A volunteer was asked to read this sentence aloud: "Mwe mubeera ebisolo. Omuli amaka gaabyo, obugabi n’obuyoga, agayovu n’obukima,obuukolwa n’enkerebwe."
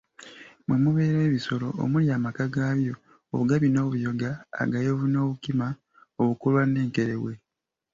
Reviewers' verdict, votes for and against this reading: accepted, 2, 0